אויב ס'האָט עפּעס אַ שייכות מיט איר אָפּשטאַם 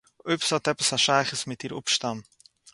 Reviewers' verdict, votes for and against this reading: accepted, 4, 0